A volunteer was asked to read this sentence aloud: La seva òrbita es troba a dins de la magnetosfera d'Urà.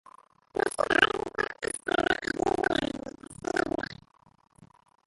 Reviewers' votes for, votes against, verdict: 0, 2, rejected